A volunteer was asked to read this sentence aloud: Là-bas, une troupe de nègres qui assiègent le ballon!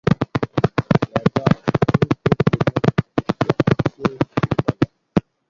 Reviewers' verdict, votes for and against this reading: rejected, 0, 2